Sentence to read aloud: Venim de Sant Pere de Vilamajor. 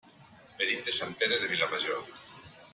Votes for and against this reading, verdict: 1, 2, rejected